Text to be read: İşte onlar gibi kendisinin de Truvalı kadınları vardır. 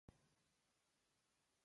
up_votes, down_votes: 0, 2